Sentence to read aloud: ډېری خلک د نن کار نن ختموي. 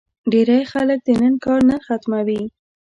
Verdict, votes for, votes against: accepted, 2, 0